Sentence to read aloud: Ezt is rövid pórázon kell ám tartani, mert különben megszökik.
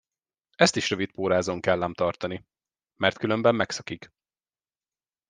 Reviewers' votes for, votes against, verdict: 2, 0, accepted